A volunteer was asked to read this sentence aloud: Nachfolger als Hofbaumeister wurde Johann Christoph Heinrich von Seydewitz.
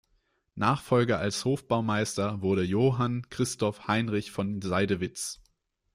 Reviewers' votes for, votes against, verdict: 2, 0, accepted